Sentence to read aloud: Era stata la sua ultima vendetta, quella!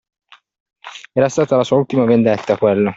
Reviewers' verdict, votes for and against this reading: accepted, 2, 0